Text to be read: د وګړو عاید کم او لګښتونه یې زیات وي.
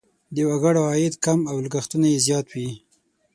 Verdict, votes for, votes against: accepted, 6, 0